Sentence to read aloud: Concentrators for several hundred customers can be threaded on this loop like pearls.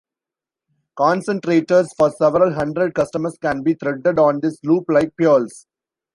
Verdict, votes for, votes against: accepted, 2, 0